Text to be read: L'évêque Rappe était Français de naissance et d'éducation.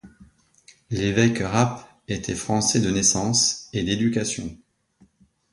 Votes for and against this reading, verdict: 2, 0, accepted